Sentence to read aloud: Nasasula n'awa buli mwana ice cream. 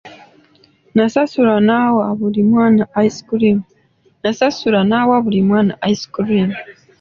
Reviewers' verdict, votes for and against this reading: accepted, 2, 1